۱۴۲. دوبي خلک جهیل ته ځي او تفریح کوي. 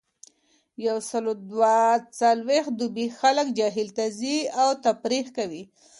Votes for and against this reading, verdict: 0, 2, rejected